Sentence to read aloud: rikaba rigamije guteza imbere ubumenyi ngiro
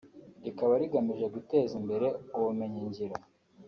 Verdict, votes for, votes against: accepted, 2, 0